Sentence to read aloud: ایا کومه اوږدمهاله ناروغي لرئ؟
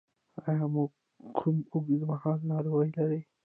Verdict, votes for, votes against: rejected, 1, 2